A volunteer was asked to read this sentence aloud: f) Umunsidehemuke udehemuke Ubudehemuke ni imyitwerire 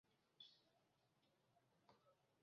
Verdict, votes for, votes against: rejected, 0, 2